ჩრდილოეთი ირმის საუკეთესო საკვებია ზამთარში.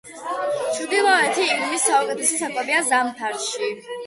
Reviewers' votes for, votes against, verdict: 2, 0, accepted